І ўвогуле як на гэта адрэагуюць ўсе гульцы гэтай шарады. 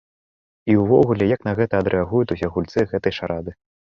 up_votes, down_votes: 0, 2